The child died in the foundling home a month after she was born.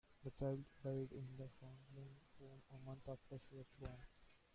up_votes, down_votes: 0, 2